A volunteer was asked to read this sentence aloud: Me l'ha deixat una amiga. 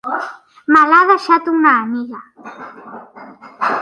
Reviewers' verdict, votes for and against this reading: rejected, 0, 2